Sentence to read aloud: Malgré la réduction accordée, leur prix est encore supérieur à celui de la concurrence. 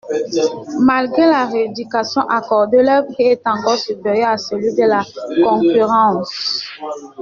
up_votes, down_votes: 0, 2